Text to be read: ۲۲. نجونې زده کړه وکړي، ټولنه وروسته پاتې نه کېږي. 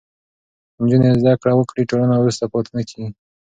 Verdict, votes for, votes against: rejected, 0, 2